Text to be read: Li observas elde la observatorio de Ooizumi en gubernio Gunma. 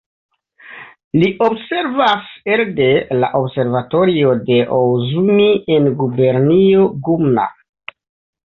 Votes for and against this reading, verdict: 3, 1, accepted